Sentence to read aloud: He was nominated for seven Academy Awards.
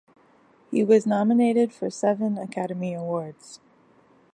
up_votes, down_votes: 2, 0